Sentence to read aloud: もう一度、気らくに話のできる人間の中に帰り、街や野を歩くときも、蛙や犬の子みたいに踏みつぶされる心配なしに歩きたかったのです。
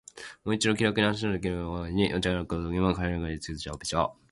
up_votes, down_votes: 0, 2